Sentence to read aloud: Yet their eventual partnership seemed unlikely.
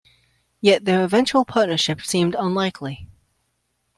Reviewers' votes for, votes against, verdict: 2, 0, accepted